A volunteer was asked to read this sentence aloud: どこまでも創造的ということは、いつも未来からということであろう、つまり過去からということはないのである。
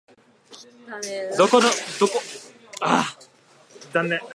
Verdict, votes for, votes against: rejected, 0, 3